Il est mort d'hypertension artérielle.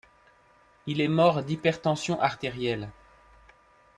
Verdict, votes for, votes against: accepted, 2, 0